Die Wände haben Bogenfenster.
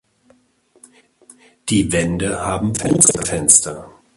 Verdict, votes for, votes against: rejected, 0, 2